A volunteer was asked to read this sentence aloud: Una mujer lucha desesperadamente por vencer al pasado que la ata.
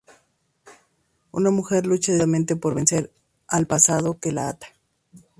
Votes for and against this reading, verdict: 0, 2, rejected